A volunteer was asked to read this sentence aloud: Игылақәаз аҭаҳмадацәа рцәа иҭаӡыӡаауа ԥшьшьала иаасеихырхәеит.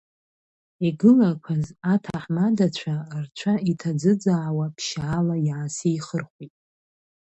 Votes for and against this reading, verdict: 2, 1, accepted